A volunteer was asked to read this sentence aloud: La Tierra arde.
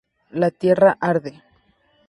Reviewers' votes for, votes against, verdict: 2, 0, accepted